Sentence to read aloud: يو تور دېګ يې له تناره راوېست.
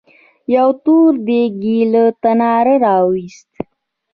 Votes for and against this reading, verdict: 1, 2, rejected